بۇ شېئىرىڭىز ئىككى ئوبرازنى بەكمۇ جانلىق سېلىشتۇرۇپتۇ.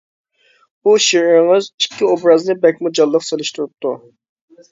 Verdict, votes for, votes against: accepted, 2, 0